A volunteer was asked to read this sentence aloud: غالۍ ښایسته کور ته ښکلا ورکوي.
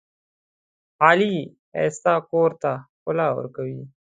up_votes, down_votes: 2, 1